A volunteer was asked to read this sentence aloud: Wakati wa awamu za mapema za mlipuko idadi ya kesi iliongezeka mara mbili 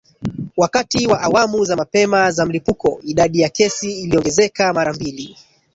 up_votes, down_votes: 1, 2